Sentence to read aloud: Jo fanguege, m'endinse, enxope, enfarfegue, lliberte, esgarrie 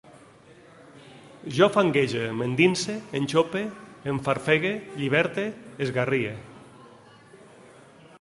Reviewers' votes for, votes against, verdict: 2, 0, accepted